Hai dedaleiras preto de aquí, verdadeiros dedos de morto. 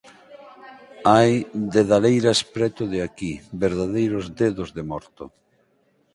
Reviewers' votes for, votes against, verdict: 4, 0, accepted